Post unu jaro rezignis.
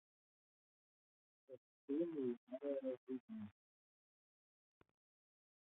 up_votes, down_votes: 0, 2